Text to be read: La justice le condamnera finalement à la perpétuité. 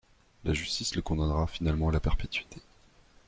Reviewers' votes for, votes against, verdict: 2, 0, accepted